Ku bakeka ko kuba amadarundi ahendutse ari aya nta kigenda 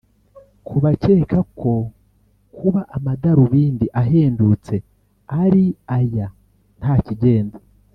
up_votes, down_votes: 2, 3